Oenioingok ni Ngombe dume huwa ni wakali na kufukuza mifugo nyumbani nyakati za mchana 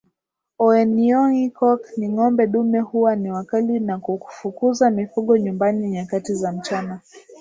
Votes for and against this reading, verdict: 2, 0, accepted